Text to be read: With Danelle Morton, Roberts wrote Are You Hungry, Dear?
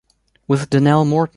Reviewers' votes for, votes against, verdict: 1, 2, rejected